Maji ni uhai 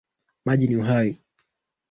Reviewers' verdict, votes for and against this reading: accepted, 3, 1